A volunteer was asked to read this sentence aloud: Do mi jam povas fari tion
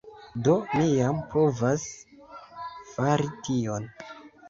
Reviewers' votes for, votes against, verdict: 2, 0, accepted